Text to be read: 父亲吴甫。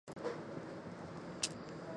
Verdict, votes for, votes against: rejected, 1, 2